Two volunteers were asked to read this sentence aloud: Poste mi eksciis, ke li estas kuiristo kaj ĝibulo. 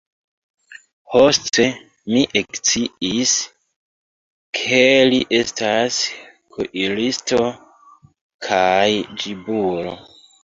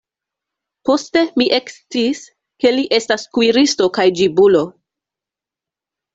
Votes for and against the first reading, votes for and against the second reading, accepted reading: 0, 2, 2, 0, second